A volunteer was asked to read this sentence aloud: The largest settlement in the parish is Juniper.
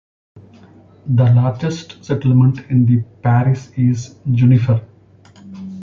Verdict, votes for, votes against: rejected, 1, 2